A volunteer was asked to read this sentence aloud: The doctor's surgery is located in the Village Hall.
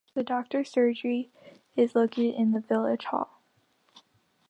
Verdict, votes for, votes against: accepted, 2, 1